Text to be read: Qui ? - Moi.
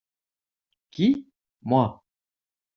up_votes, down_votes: 2, 0